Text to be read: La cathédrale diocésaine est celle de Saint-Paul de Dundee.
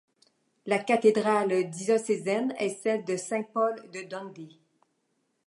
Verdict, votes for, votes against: accepted, 2, 0